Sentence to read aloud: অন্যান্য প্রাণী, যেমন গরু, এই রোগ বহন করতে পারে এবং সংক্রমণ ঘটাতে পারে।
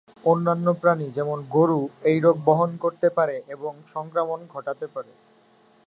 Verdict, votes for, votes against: accepted, 2, 0